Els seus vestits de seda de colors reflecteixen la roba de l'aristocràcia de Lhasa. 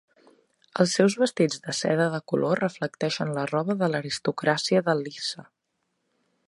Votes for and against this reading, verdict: 0, 2, rejected